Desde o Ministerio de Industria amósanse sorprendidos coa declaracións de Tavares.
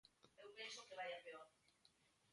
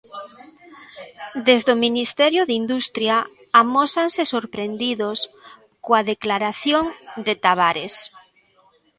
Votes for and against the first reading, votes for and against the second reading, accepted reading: 2, 1, 0, 2, first